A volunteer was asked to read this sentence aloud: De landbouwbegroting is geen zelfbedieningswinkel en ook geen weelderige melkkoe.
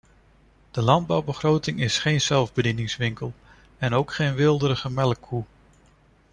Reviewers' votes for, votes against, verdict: 2, 0, accepted